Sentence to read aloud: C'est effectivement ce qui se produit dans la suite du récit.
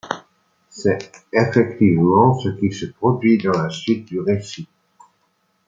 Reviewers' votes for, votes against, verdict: 2, 0, accepted